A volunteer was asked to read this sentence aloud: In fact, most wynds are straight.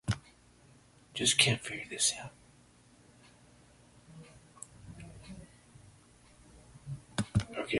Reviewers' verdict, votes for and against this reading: rejected, 0, 2